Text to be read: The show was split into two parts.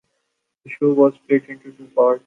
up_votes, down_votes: 1, 2